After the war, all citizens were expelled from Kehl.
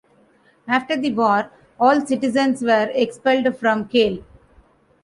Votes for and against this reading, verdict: 2, 0, accepted